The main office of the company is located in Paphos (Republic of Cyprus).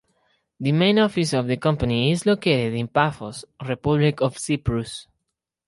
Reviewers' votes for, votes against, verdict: 4, 0, accepted